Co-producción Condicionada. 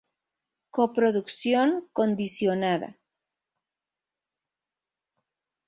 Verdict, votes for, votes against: rejected, 0, 2